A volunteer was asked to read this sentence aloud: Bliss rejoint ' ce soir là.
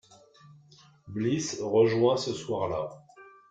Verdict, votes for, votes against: rejected, 1, 2